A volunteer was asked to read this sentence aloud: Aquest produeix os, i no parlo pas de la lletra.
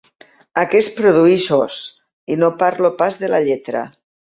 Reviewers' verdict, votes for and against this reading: rejected, 1, 2